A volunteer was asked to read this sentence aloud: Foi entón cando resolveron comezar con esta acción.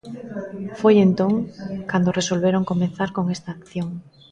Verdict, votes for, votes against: rejected, 0, 2